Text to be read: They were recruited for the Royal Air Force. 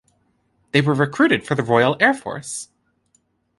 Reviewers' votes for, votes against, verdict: 2, 0, accepted